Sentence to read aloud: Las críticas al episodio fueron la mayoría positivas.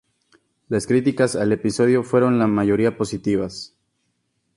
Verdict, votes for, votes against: accepted, 2, 0